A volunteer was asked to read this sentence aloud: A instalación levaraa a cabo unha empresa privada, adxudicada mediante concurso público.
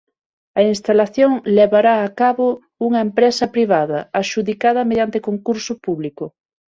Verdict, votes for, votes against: rejected, 3, 6